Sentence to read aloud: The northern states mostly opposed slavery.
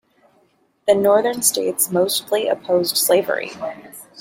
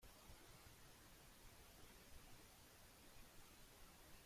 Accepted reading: first